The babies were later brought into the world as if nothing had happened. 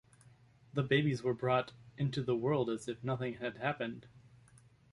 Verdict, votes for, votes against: rejected, 0, 2